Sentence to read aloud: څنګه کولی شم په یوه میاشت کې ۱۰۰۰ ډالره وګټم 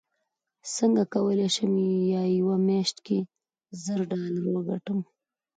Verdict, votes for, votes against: rejected, 0, 2